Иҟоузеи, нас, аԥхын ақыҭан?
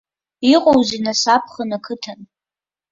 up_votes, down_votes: 2, 1